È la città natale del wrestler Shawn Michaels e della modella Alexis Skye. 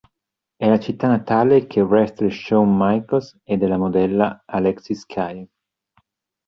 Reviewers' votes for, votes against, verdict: 2, 3, rejected